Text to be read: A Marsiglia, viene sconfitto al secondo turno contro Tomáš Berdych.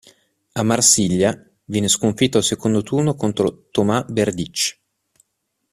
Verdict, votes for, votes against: rejected, 1, 2